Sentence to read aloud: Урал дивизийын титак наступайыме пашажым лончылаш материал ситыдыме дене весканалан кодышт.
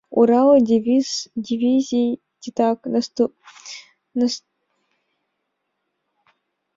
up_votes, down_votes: 0, 2